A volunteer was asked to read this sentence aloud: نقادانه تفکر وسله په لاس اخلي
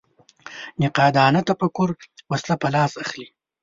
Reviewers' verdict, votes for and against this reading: accepted, 2, 0